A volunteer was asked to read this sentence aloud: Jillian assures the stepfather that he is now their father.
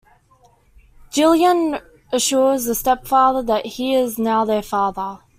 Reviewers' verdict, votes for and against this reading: accepted, 2, 1